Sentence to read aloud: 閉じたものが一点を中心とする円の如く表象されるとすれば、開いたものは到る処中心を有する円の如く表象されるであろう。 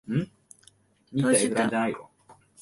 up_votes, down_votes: 0, 2